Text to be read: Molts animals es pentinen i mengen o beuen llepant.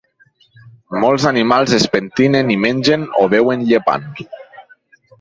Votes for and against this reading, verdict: 0, 4, rejected